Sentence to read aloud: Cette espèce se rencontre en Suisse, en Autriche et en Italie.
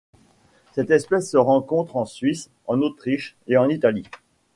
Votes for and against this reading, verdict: 2, 0, accepted